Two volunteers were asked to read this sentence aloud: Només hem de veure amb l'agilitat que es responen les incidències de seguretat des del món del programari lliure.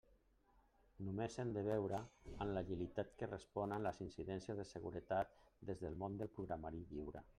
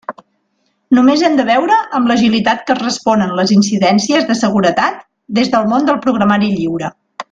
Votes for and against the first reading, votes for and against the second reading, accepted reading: 1, 2, 2, 0, second